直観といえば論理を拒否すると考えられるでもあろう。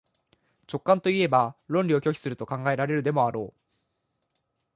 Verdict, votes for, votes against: accepted, 4, 0